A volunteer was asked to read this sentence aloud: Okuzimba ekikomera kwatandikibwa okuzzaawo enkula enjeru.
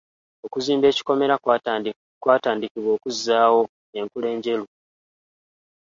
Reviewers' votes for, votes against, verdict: 2, 0, accepted